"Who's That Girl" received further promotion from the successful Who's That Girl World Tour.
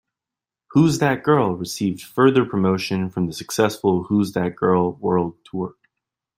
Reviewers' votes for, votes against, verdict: 2, 0, accepted